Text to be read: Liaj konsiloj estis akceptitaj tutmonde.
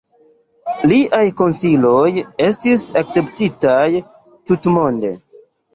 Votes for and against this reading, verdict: 2, 0, accepted